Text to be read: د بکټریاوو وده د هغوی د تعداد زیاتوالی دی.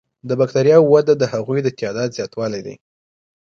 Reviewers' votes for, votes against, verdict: 2, 0, accepted